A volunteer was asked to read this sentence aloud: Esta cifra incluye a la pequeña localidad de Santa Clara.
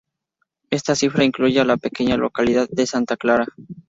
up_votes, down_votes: 2, 0